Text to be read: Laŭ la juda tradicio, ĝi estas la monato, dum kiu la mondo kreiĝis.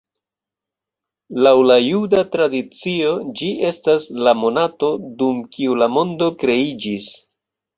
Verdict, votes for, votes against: accepted, 2, 0